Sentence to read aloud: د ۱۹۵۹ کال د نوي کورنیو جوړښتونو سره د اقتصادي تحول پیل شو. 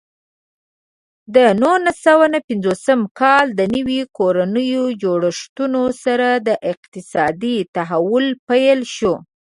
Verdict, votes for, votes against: rejected, 0, 2